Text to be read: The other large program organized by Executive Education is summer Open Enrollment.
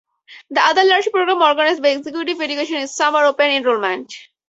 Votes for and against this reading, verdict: 2, 2, rejected